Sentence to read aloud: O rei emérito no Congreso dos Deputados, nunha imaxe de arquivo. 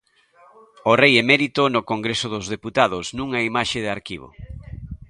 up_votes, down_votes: 2, 0